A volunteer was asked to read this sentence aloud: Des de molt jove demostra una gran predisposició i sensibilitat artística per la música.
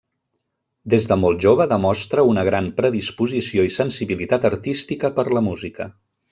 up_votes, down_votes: 3, 0